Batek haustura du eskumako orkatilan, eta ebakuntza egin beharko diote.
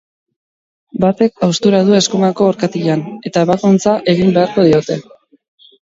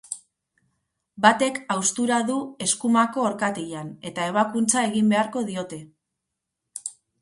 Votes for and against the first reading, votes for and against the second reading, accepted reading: 0, 2, 4, 0, second